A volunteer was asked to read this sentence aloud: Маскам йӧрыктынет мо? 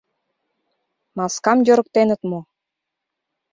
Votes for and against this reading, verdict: 0, 2, rejected